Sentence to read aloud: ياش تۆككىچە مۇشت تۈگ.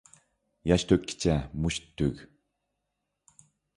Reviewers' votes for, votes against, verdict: 2, 0, accepted